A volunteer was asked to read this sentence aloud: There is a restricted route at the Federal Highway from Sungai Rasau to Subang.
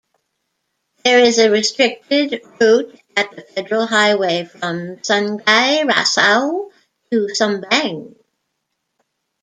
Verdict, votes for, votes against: rejected, 1, 2